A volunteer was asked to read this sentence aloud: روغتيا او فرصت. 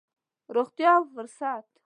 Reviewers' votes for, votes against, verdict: 2, 0, accepted